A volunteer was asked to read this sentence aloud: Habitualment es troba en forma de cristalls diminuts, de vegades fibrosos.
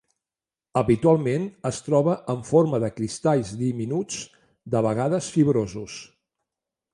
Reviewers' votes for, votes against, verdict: 3, 0, accepted